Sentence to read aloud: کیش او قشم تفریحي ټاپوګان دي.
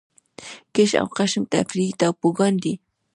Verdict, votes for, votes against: rejected, 1, 2